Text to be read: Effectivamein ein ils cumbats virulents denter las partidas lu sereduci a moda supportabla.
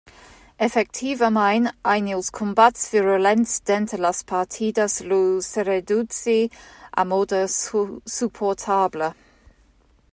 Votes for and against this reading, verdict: 0, 2, rejected